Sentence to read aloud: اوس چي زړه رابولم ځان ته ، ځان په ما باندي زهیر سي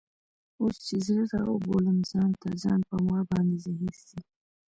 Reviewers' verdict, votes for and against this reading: rejected, 1, 2